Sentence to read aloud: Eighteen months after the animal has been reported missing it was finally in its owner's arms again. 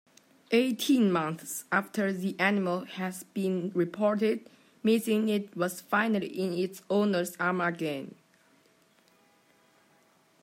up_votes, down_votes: 3, 4